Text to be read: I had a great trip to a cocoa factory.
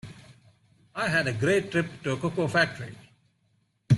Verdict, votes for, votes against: accepted, 2, 0